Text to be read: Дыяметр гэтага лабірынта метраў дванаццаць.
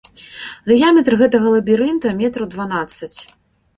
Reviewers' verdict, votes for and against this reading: accepted, 2, 0